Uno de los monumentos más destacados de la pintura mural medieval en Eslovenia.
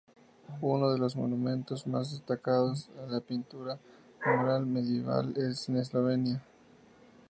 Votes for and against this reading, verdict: 2, 0, accepted